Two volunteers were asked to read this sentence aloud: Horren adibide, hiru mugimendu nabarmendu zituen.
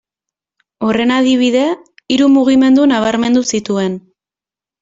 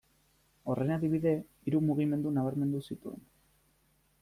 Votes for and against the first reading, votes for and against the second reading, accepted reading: 2, 0, 1, 2, first